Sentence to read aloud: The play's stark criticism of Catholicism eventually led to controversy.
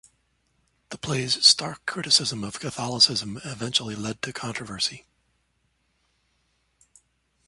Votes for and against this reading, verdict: 2, 0, accepted